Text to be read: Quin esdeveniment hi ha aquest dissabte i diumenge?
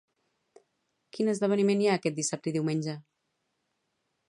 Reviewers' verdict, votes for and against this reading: accepted, 4, 0